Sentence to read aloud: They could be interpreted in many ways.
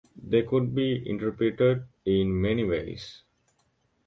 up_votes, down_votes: 2, 0